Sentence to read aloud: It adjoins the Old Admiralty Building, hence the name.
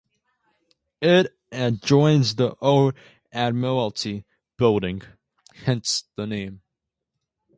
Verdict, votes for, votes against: rejected, 0, 2